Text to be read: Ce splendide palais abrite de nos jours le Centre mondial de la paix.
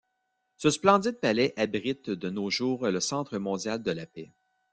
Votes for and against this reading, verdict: 0, 2, rejected